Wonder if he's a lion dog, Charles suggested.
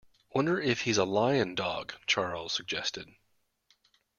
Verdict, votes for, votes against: accepted, 2, 0